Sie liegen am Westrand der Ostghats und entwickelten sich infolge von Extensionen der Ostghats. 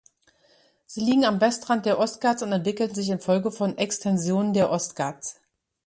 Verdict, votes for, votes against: rejected, 1, 2